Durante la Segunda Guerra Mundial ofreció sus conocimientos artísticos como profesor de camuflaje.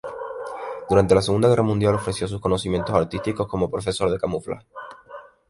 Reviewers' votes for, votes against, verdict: 0, 2, rejected